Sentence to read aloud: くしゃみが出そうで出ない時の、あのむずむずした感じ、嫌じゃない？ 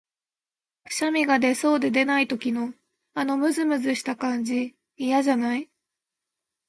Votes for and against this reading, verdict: 1, 2, rejected